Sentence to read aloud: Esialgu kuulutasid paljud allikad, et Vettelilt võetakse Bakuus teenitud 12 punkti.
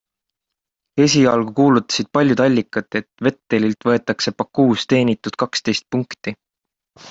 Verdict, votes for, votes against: rejected, 0, 2